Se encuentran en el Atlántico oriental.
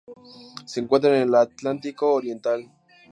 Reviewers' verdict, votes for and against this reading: accepted, 2, 0